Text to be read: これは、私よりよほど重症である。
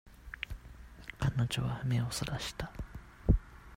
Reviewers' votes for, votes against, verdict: 0, 2, rejected